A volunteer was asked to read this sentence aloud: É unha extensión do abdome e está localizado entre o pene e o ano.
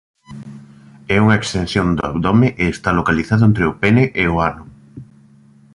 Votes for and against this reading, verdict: 2, 0, accepted